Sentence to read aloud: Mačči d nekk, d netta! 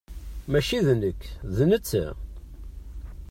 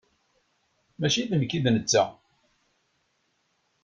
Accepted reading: first